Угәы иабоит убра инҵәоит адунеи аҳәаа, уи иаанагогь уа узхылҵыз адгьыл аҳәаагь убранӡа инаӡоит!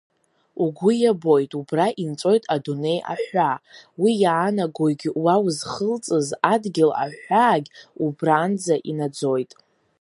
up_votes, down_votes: 2, 0